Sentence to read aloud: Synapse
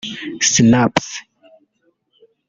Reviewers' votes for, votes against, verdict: 1, 2, rejected